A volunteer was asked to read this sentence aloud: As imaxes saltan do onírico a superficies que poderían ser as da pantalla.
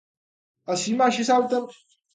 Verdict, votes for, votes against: rejected, 0, 2